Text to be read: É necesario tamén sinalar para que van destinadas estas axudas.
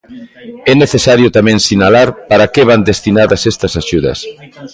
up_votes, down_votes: 1, 2